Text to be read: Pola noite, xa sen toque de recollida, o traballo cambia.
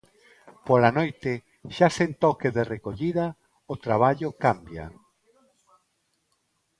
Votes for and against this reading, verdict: 2, 0, accepted